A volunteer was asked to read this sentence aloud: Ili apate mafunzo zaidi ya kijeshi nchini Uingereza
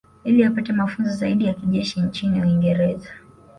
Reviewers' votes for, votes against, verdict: 3, 0, accepted